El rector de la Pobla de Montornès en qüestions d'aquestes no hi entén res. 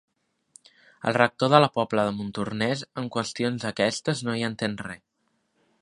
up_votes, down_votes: 1, 2